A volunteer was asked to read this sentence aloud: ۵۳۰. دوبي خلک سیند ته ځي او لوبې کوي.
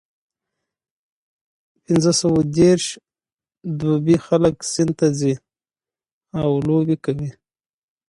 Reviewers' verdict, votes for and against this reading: rejected, 0, 2